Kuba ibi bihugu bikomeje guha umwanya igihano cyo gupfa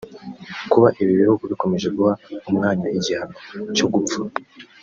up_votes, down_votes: 2, 0